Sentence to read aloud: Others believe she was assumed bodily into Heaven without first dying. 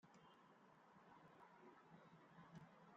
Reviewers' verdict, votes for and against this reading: rejected, 0, 2